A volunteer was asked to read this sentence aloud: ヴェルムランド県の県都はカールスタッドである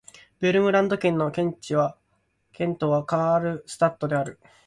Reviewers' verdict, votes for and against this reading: accepted, 11, 5